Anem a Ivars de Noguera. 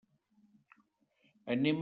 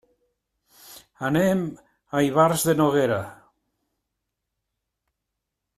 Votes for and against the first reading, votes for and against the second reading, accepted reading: 0, 2, 3, 0, second